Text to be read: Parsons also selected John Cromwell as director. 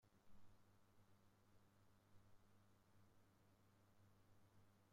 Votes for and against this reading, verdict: 0, 2, rejected